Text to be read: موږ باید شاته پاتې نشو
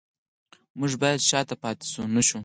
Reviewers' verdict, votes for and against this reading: rejected, 2, 4